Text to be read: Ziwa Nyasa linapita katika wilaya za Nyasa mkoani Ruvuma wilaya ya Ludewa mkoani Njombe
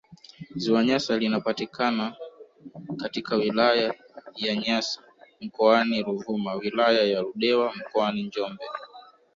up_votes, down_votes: 1, 2